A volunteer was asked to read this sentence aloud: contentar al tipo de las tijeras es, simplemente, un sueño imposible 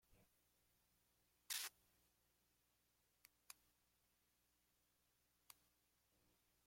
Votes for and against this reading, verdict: 0, 2, rejected